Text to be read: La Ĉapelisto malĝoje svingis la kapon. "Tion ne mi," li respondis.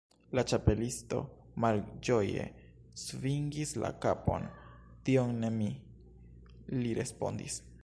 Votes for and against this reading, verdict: 2, 0, accepted